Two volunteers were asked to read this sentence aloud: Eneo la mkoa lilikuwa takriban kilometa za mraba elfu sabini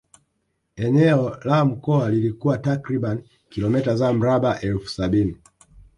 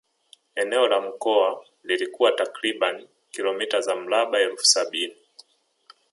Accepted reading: second